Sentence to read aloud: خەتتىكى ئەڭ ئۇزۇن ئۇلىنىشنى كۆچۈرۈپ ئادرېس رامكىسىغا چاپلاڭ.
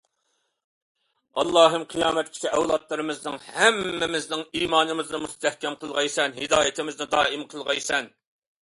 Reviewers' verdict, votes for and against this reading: rejected, 0, 2